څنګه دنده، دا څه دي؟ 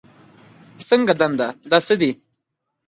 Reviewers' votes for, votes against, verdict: 2, 0, accepted